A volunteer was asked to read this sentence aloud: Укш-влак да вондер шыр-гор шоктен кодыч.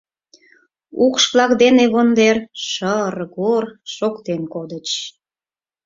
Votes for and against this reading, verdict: 2, 4, rejected